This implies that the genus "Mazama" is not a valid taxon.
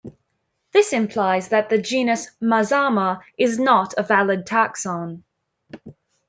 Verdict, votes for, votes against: accepted, 2, 0